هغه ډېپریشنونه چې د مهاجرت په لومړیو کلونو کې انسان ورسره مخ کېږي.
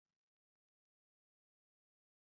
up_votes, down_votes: 1, 2